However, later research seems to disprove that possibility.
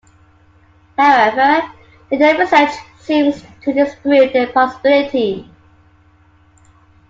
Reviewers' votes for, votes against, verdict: 2, 1, accepted